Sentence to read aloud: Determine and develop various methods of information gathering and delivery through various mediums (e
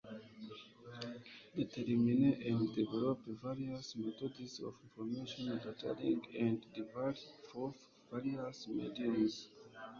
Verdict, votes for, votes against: rejected, 0, 2